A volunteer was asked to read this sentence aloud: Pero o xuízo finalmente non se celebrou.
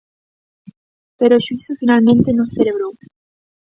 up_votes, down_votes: 1, 2